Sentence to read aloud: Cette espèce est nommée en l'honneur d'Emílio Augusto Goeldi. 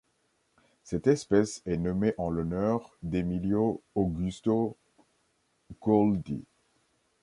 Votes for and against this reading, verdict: 2, 1, accepted